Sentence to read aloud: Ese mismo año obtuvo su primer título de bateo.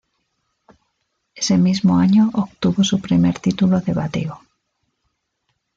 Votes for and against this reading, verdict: 2, 0, accepted